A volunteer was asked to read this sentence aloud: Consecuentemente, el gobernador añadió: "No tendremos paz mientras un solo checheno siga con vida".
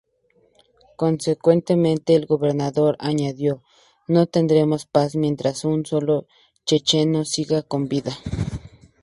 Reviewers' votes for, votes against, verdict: 2, 0, accepted